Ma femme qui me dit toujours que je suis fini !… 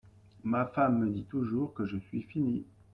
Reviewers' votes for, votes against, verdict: 2, 1, accepted